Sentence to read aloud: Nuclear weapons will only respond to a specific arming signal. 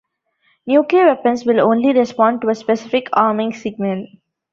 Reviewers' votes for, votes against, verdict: 1, 2, rejected